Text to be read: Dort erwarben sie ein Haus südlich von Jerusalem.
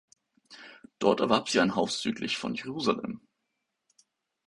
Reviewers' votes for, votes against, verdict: 0, 2, rejected